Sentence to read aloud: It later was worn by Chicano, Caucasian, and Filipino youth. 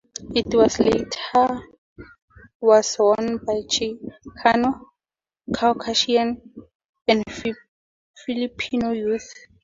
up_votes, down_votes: 0, 2